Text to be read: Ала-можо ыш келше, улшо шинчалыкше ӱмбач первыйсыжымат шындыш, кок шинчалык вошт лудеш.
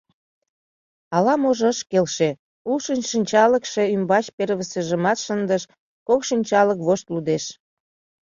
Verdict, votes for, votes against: accepted, 2, 0